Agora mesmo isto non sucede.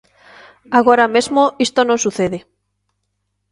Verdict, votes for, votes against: accepted, 2, 0